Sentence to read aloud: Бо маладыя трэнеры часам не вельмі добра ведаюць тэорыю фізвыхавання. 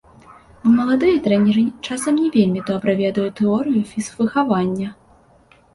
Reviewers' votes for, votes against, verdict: 0, 2, rejected